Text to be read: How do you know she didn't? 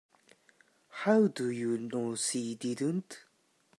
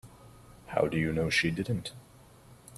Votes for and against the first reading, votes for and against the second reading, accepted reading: 0, 2, 2, 0, second